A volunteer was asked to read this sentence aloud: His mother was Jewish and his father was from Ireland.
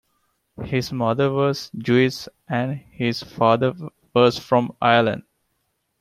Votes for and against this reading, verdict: 2, 0, accepted